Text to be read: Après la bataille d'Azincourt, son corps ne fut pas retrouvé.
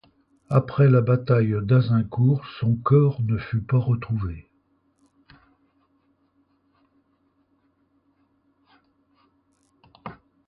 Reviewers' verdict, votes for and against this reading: accepted, 2, 0